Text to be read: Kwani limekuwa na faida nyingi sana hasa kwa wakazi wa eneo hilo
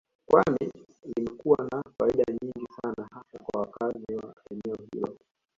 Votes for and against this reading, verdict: 0, 2, rejected